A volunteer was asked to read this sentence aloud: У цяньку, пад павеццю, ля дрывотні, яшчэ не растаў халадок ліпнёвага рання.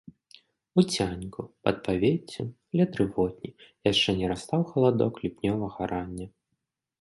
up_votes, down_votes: 0, 2